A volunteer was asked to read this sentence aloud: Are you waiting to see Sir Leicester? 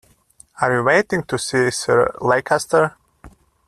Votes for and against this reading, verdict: 2, 0, accepted